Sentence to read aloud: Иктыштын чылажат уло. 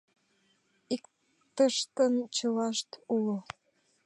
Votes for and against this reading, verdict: 0, 2, rejected